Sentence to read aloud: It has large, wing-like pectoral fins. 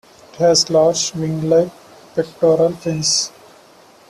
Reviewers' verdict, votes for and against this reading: rejected, 0, 2